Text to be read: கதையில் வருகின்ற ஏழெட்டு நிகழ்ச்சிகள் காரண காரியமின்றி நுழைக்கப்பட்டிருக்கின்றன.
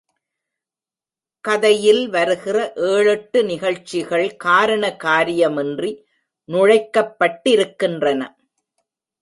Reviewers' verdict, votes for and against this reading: rejected, 1, 2